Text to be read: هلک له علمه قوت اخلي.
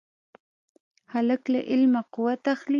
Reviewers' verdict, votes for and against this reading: accepted, 2, 0